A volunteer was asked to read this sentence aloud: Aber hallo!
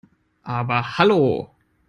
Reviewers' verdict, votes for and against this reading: accepted, 2, 0